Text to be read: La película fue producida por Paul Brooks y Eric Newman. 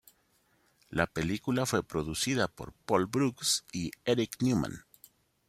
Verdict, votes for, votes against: accepted, 2, 0